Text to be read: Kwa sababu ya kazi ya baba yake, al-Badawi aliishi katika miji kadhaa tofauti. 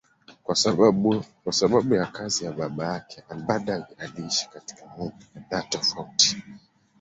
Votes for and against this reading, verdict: 1, 2, rejected